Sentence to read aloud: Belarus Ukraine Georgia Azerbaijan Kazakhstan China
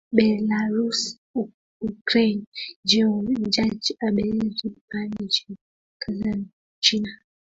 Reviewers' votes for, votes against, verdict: 0, 2, rejected